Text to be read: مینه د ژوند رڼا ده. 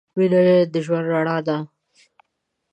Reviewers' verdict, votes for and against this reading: accepted, 2, 0